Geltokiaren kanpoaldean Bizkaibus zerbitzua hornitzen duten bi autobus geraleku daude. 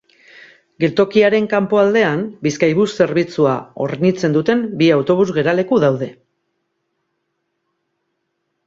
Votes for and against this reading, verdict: 4, 0, accepted